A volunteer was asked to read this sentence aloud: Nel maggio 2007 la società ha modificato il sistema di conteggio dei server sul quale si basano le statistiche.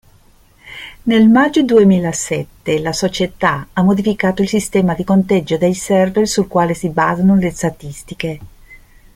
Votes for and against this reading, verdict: 0, 2, rejected